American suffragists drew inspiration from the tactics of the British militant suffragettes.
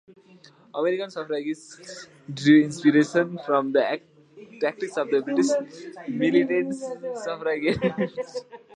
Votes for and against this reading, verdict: 0, 2, rejected